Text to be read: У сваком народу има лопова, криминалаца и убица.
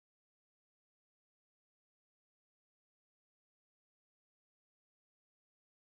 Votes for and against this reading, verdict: 0, 2, rejected